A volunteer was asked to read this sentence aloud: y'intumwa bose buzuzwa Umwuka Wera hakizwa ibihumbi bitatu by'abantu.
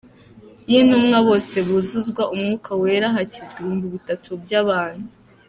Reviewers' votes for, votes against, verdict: 2, 0, accepted